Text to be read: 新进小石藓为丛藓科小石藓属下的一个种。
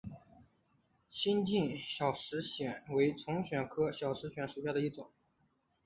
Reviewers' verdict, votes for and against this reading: accepted, 2, 1